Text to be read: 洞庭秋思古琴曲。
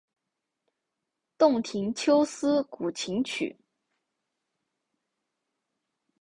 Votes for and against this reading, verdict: 2, 2, rejected